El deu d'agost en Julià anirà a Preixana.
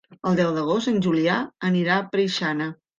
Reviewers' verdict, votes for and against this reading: accepted, 4, 0